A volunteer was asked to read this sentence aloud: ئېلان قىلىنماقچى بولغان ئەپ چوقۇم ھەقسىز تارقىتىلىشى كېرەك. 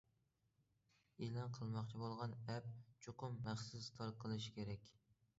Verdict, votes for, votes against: rejected, 1, 2